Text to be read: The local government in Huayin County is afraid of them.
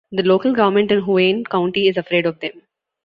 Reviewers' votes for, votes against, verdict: 2, 1, accepted